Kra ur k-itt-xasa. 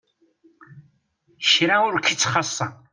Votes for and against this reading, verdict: 2, 0, accepted